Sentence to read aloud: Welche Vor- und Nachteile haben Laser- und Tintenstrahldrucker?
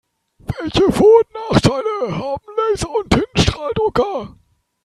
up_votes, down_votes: 2, 3